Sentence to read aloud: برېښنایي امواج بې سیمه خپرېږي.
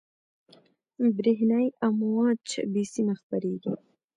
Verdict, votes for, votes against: accepted, 2, 0